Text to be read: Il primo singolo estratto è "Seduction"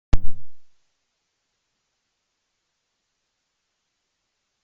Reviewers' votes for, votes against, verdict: 0, 2, rejected